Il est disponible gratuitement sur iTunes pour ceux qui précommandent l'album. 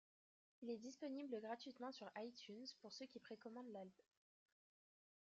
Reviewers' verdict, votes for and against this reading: rejected, 0, 2